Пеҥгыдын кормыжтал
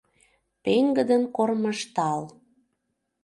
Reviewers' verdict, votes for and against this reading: accepted, 2, 0